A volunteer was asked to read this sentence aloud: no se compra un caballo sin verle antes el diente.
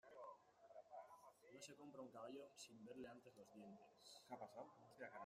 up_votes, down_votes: 0, 2